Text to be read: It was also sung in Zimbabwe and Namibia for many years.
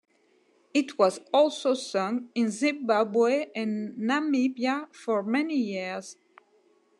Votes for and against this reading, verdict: 2, 0, accepted